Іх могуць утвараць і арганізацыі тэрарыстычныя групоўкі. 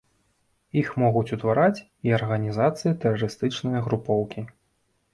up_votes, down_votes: 1, 2